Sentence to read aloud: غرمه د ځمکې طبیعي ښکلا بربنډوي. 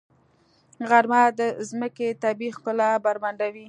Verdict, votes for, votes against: accepted, 2, 0